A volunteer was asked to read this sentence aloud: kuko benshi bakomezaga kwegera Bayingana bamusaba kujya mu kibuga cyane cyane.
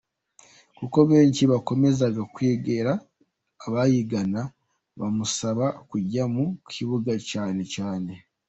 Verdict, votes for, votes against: accepted, 2, 1